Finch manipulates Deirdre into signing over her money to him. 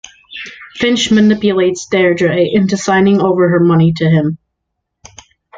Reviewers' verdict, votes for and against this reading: accepted, 2, 0